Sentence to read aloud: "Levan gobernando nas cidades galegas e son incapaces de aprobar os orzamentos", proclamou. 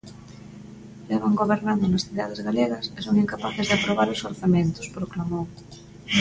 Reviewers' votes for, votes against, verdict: 2, 0, accepted